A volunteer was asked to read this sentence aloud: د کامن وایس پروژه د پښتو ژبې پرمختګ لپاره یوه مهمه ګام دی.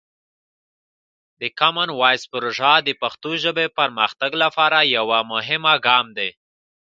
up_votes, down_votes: 2, 0